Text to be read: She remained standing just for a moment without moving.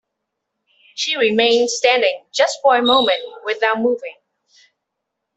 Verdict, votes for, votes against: accepted, 2, 1